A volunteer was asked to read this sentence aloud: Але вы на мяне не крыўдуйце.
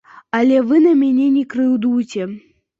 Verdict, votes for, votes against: accepted, 2, 0